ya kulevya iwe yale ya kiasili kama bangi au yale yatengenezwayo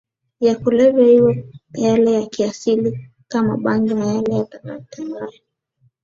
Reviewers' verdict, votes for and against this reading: accepted, 3, 2